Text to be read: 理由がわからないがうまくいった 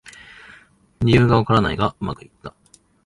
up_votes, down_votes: 2, 0